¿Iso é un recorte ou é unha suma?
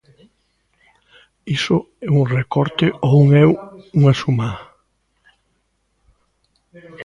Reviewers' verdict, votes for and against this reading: rejected, 0, 2